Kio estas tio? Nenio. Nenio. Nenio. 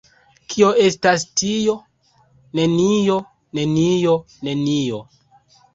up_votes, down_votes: 2, 0